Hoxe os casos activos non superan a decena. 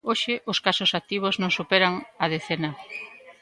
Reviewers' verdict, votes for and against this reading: accepted, 2, 0